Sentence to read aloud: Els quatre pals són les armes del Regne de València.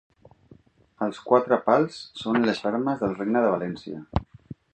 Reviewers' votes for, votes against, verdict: 4, 0, accepted